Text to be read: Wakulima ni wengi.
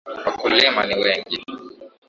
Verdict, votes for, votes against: accepted, 2, 0